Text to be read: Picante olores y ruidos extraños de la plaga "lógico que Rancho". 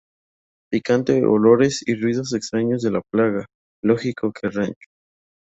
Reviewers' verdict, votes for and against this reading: accepted, 2, 0